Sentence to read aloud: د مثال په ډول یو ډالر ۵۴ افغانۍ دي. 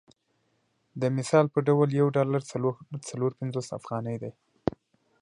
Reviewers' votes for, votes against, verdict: 0, 2, rejected